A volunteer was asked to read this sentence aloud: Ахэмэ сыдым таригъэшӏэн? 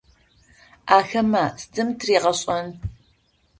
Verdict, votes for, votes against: rejected, 0, 2